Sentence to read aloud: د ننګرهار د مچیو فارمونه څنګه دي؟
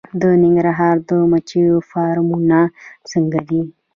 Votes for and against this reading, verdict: 1, 2, rejected